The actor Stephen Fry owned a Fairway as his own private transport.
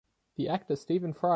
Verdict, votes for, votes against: rejected, 0, 2